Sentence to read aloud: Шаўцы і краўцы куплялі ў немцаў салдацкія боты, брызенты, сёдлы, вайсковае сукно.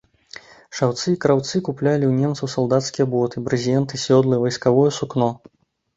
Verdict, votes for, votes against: rejected, 0, 2